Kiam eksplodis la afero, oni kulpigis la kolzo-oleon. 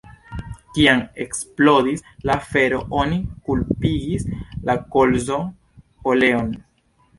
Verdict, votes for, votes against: rejected, 0, 2